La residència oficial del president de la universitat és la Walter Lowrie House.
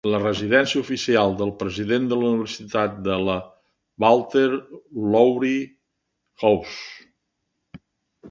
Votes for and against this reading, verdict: 0, 3, rejected